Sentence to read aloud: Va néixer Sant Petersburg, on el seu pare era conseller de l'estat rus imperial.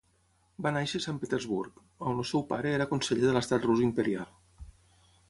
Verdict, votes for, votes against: rejected, 0, 6